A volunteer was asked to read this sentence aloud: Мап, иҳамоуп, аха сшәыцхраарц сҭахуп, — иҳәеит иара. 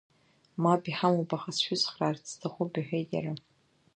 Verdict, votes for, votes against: rejected, 1, 2